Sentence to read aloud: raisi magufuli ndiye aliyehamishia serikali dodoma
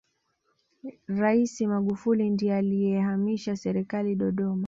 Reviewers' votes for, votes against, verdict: 2, 1, accepted